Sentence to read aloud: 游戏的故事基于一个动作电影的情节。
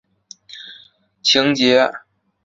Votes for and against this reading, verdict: 0, 3, rejected